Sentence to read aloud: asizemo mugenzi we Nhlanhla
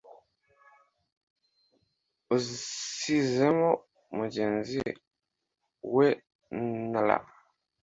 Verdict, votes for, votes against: rejected, 1, 2